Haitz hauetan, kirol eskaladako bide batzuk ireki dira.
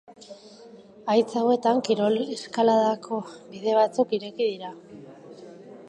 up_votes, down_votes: 4, 0